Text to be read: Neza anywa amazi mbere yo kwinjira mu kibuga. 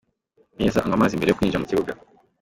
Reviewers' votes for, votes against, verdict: 2, 0, accepted